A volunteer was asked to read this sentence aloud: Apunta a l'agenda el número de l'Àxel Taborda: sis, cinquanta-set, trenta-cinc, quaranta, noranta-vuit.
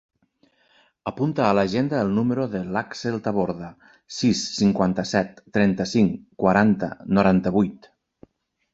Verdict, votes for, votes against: accepted, 3, 0